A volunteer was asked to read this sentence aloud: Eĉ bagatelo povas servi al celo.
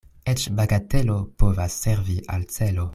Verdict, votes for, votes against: accepted, 2, 0